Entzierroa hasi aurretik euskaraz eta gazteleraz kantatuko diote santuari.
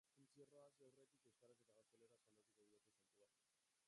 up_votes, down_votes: 0, 2